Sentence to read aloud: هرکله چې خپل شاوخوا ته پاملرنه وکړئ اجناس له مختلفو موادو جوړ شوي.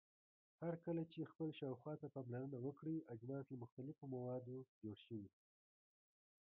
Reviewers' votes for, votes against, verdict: 3, 2, accepted